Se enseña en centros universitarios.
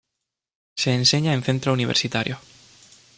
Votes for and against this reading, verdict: 0, 2, rejected